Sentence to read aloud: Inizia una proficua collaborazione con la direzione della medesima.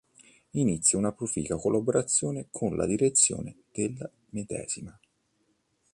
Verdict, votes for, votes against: rejected, 1, 2